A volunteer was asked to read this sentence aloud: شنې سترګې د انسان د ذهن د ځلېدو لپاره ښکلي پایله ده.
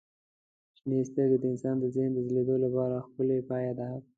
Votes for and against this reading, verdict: 2, 0, accepted